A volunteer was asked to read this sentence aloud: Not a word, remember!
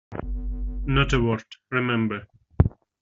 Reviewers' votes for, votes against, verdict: 2, 0, accepted